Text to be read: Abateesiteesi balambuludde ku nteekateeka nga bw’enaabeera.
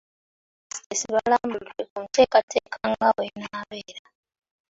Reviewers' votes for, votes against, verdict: 2, 0, accepted